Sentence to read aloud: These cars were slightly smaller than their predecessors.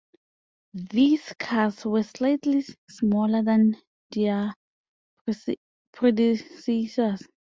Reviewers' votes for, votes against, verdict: 0, 2, rejected